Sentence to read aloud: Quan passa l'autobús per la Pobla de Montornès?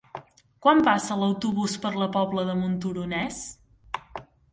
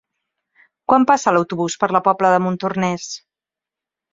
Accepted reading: second